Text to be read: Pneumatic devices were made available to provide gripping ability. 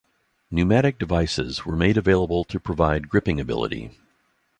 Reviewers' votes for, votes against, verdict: 2, 0, accepted